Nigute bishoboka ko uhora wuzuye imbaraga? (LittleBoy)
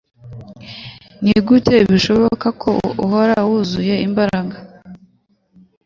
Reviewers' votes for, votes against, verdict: 1, 2, rejected